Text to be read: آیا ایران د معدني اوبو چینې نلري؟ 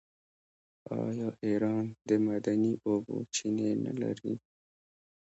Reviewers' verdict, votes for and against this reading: rejected, 0, 2